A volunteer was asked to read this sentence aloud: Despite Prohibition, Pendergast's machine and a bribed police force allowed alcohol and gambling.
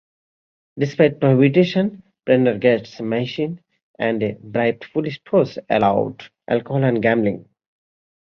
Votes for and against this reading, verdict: 0, 2, rejected